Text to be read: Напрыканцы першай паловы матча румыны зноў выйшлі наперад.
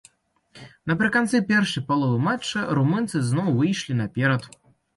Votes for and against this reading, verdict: 1, 2, rejected